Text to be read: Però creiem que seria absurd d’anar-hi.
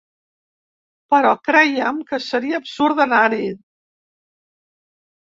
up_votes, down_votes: 2, 0